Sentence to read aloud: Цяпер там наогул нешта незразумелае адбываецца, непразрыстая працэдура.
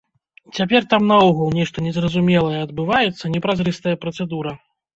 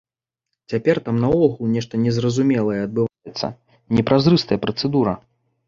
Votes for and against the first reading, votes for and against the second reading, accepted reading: 1, 2, 2, 0, second